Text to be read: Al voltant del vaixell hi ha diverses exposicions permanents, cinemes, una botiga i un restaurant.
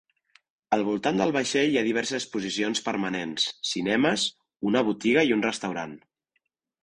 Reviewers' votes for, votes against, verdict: 1, 2, rejected